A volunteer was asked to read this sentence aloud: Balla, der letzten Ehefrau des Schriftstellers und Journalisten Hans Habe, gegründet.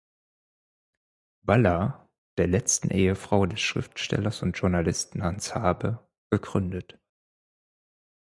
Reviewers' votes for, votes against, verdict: 4, 0, accepted